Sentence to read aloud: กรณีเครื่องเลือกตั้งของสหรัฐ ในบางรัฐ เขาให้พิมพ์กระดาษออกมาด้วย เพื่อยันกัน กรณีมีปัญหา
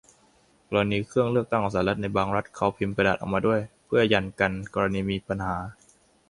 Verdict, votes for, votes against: rejected, 0, 2